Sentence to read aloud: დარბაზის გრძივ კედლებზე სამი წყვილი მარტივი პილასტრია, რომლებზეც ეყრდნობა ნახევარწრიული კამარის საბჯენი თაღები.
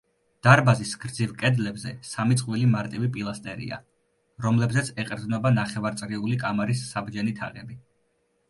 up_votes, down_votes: 0, 2